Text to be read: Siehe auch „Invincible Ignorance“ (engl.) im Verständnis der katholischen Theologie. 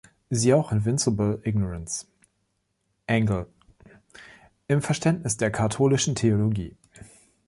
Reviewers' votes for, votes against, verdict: 2, 0, accepted